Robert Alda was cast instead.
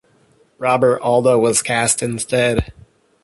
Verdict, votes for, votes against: accepted, 2, 0